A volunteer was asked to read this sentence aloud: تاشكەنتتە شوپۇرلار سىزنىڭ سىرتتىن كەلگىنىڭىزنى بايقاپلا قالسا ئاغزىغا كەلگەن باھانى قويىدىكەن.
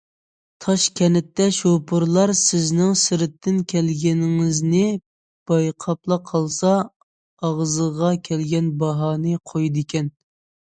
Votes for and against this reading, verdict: 2, 0, accepted